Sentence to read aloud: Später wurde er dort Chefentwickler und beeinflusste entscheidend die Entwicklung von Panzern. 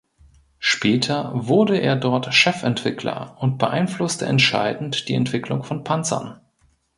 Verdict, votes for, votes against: accepted, 2, 0